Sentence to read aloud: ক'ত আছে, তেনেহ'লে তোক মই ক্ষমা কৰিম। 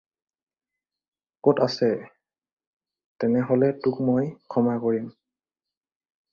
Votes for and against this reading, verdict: 4, 0, accepted